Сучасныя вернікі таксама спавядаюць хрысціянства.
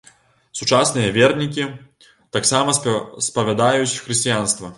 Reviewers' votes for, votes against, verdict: 2, 3, rejected